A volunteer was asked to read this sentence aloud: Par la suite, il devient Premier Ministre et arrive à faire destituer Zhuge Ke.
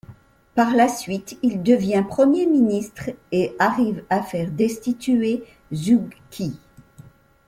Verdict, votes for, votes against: accepted, 2, 0